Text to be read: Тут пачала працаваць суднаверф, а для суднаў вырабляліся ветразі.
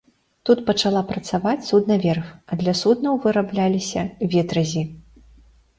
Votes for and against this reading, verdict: 2, 0, accepted